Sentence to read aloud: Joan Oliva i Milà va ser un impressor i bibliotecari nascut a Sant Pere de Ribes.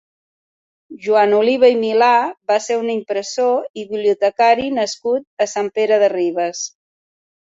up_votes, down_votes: 4, 0